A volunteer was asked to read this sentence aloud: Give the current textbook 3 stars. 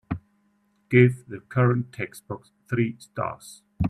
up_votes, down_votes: 0, 2